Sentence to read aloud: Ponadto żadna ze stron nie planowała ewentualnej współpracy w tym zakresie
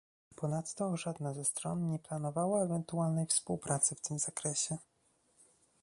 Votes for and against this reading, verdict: 1, 2, rejected